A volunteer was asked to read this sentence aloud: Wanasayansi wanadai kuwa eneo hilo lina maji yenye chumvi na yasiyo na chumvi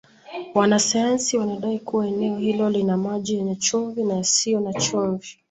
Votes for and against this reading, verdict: 1, 2, rejected